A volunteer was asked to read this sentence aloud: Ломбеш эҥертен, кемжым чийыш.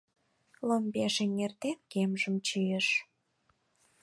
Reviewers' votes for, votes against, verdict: 4, 0, accepted